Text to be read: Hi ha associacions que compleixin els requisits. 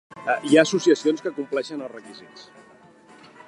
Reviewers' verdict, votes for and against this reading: accepted, 2, 0